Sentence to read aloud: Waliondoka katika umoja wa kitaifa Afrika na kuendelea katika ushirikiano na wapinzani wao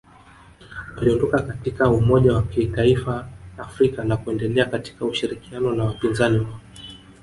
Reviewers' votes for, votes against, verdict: 0, 2, rejected